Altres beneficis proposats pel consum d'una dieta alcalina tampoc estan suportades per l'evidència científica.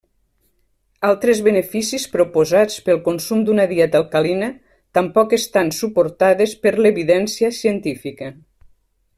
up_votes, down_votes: 3, 0